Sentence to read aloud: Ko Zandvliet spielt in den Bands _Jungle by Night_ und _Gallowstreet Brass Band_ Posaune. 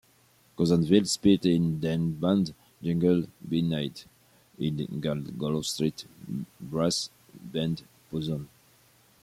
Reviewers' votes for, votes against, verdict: 1, 2, rejected